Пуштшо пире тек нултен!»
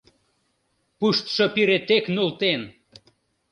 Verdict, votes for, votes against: accepted, 2, 0